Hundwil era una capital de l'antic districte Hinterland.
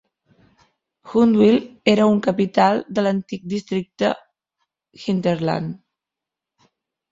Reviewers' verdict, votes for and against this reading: rejected, 1, 4